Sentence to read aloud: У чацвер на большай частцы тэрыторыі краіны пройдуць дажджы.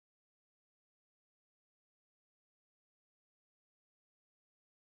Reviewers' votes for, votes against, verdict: 1, 2, rejected